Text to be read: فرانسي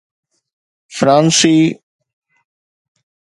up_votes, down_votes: 2, 0